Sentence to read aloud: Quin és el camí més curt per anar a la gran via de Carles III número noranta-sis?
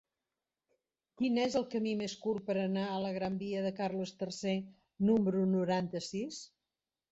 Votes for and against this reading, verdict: 2, 0, accepted